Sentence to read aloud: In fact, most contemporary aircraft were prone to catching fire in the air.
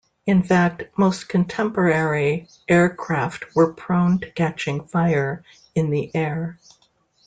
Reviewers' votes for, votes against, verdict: 2, 0, accepted